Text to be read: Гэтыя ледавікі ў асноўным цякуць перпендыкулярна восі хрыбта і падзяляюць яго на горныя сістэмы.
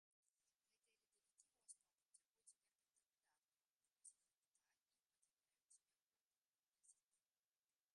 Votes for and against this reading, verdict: 0, 2, rejected